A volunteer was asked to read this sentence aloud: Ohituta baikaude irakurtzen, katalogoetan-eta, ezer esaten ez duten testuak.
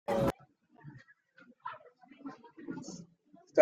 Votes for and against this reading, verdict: 0, 2, rejected